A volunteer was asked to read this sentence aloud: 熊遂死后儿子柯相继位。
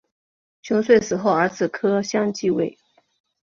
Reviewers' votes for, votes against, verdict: 3, 0, accepted